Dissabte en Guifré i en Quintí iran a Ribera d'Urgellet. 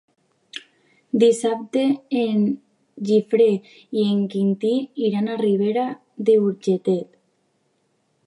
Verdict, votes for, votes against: rejected, 0, 3